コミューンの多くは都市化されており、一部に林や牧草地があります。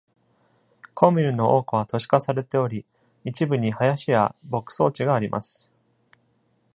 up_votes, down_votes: 2, 0